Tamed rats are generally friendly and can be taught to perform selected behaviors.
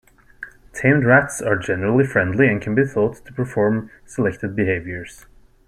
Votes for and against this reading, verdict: 1, 2, rejected